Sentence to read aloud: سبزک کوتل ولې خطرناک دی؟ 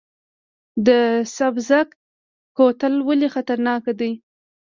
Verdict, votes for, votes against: rejected, 1, 2